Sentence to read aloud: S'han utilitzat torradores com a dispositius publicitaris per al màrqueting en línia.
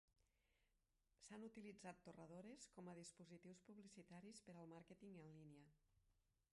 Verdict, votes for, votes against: rejected, 0, 2